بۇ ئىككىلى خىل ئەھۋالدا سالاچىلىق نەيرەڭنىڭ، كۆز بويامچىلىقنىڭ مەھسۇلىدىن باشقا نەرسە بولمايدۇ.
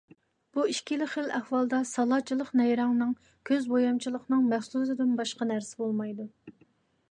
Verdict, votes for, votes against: accepted, 2, 0